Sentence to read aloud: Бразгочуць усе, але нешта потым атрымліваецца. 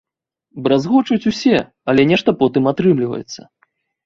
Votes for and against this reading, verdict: 2, 0, accepted